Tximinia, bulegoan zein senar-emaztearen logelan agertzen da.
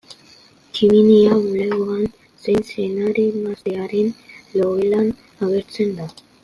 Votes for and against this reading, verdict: 2, 1, accepted